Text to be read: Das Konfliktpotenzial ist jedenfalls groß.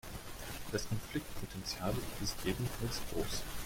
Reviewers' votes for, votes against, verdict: 2, 0, accepted